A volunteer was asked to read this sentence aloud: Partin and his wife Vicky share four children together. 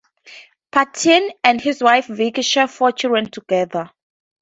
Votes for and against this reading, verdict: 4, 0, accepted